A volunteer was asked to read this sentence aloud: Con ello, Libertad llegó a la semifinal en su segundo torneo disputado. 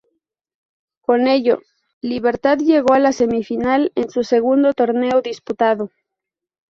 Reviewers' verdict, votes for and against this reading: accepted, 2, 0